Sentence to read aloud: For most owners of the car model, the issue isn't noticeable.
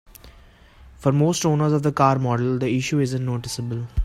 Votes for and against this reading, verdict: 2, 0, accepted